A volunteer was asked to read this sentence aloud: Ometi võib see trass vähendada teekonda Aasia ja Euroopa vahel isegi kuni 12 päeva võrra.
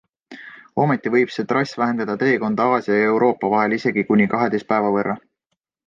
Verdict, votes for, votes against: rejected, 0, 2